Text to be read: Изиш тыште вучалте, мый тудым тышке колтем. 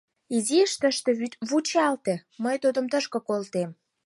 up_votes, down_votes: 0, 4